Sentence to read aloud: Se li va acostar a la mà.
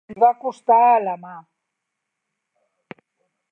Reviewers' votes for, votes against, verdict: 0, 2, rejected